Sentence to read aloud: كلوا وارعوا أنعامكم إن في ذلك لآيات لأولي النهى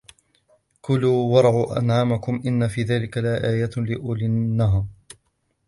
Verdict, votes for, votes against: rejected, 1, 2